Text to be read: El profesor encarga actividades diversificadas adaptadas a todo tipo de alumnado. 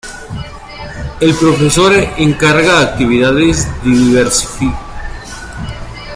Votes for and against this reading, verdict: 0, 2, rejected